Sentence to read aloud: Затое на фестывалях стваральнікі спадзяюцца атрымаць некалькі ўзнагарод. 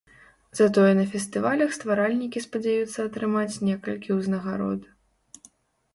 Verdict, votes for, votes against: accepted, 2, 0